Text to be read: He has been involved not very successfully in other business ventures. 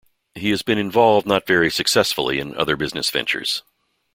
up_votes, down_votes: 2, 0